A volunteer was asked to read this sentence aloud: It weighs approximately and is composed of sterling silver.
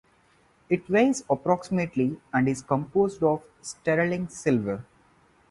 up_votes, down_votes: 2, 0